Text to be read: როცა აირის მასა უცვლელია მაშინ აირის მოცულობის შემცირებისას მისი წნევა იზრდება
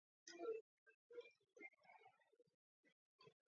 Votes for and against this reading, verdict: 0, 2, rejected